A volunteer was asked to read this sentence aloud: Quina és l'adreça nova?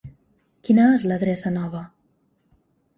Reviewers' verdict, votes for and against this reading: accepted, 3, 0